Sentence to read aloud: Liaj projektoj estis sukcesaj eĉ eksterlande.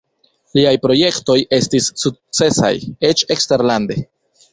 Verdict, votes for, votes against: rejected, 1, 2